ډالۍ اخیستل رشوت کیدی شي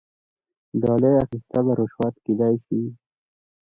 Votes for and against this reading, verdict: 2, 0, accepted